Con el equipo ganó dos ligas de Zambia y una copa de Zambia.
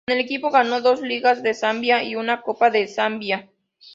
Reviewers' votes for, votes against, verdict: 2, 0, accepted